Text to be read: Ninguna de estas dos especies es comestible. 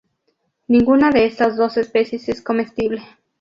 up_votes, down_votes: 2, 0